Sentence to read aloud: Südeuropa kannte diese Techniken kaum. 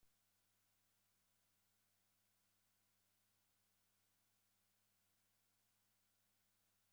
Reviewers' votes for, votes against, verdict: 0, 2, rejected